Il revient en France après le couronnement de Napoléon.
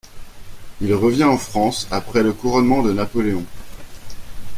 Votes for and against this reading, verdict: 2, 0, accepted